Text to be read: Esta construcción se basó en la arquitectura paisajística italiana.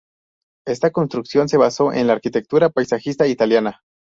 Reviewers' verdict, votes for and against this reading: rejected, 0, 2